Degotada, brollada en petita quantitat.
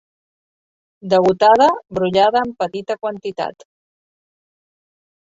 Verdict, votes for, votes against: accepted, 4, 2